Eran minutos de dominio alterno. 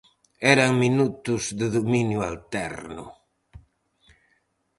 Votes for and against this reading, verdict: 4, 0, accepted